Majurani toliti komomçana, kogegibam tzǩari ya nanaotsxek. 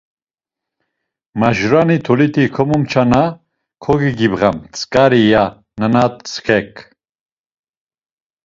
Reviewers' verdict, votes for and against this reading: rejected, 1, 2